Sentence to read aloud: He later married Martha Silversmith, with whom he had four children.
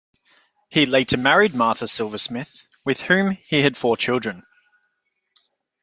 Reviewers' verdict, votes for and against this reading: accepted, 2, 0